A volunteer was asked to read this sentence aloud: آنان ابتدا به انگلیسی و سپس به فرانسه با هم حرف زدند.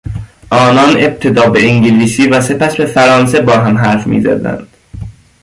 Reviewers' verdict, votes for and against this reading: rejected, 0, 2